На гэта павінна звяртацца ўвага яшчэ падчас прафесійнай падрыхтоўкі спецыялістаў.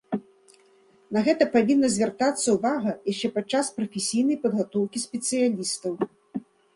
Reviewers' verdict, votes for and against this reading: rejected, 0, 2